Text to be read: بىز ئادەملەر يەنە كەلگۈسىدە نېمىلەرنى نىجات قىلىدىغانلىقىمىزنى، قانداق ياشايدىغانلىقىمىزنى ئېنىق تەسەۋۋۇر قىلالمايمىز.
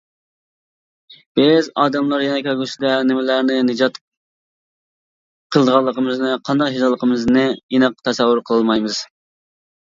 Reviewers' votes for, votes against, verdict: 1, 2, rejected